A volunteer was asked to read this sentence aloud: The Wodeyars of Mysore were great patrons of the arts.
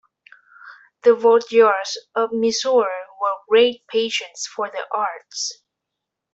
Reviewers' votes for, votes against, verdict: 1, 2, rejected